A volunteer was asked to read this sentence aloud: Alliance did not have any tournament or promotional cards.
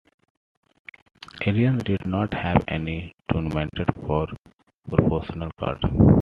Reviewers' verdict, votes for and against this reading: rejected, 0, 2